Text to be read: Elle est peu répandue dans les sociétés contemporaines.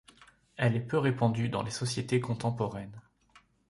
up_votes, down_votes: 2, 0